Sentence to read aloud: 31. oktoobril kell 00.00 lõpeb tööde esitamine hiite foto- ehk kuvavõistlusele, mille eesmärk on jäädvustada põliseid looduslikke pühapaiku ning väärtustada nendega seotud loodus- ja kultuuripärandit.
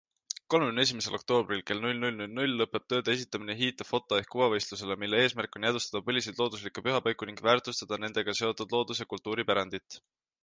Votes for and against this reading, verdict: 0, 2, rejected